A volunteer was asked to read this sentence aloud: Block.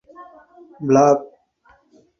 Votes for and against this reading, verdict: 0, 4, rejected